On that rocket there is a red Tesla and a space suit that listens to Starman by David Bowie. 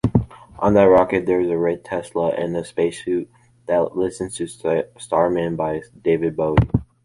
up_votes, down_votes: 2, 1